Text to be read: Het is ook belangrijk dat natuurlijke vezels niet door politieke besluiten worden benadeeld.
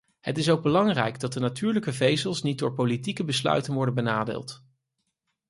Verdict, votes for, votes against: rejected, 0, 4